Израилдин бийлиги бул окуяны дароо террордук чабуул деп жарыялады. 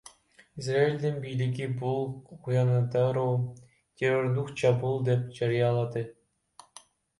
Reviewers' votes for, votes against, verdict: 0, 2, rejected